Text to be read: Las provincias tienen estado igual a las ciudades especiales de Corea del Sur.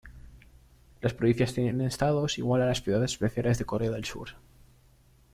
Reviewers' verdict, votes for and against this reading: rejected, 1, 2